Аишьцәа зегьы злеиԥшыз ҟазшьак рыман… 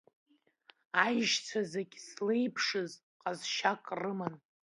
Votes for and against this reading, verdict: 2, 0, accepted